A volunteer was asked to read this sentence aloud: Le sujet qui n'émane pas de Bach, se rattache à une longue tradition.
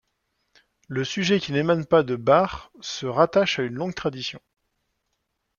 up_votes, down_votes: 1, 2